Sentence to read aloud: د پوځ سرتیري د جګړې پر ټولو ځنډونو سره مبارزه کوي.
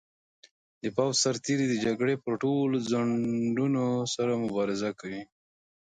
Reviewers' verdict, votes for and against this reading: rejected, 1, 2